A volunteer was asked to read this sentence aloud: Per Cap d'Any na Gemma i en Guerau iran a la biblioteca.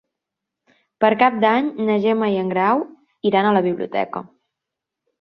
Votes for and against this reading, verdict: 0, 2, rejected